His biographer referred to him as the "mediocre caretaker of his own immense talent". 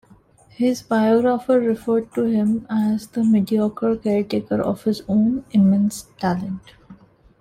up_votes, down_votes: 2, 0